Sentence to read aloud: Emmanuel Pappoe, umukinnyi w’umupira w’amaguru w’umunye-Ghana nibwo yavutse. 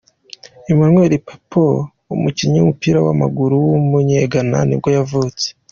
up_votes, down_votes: 2, 0